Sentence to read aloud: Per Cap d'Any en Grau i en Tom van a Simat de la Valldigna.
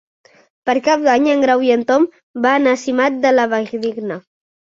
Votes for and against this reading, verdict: 2, 0, accepted